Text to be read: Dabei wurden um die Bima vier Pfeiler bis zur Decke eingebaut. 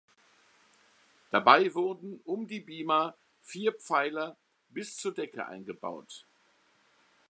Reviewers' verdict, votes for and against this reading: accepted, 2, 0